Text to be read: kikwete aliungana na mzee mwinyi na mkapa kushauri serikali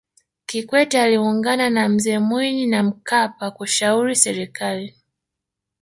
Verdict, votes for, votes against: accepted, 2, 1